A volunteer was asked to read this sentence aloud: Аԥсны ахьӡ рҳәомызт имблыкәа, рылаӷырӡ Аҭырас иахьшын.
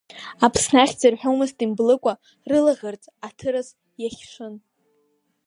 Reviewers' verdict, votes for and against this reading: accepted, 3, 0